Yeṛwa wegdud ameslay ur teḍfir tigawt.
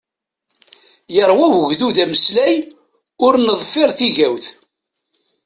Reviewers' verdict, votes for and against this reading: rejected, 1, 2